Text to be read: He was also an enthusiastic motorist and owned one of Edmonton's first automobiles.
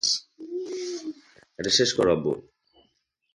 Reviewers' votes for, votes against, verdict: 0, 2, rejected